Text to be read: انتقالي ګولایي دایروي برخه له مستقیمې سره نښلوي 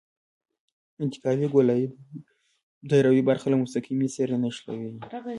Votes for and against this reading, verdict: 1, 2, rejected